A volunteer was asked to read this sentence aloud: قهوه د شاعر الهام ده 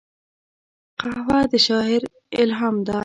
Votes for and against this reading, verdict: 2, 0, accepted